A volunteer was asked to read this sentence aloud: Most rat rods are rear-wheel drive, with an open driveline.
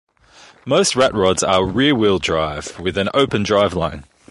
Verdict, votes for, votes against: accepted, 2, 1